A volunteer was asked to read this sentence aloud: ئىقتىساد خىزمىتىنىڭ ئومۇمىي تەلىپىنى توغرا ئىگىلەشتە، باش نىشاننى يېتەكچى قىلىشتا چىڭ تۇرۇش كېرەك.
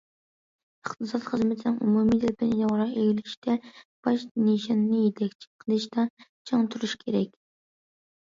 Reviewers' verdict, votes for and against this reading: rejected, 0, 2